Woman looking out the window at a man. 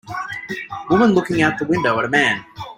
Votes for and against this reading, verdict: 1, 2, rejected